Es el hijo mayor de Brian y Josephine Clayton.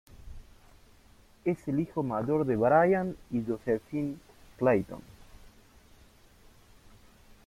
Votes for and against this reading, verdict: 0, 2, rejected